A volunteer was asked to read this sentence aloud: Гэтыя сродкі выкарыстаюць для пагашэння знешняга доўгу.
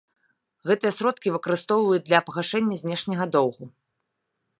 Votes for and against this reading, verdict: 0, 2, rejected